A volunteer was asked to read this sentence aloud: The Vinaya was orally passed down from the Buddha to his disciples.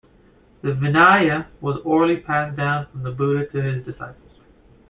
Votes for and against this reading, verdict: 2, 0, accepted